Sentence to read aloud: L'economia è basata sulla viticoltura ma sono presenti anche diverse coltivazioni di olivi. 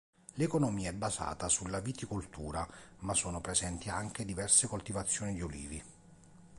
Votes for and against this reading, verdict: 2, 0, accepted